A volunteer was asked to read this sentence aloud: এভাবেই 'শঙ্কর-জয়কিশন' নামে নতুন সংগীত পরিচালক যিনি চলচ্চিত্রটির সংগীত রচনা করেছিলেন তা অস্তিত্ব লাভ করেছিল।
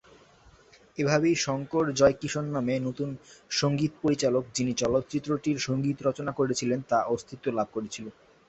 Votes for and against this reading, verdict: 2, 0, accepted